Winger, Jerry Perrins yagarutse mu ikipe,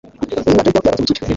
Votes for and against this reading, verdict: 0, 2, rejected